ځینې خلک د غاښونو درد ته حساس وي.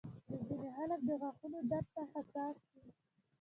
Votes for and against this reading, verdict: 2, 0, accepted